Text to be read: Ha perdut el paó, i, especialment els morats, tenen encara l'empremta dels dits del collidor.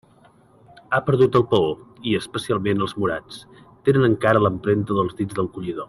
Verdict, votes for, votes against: accepted, 2, 0